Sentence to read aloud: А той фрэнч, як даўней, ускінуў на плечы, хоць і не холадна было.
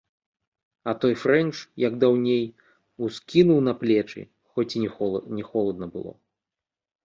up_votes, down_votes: 0, 2